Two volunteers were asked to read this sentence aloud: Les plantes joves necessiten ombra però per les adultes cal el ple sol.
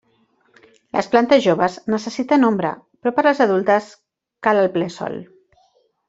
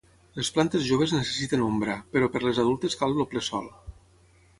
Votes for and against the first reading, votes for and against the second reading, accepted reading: 2, 0, 3, 6, first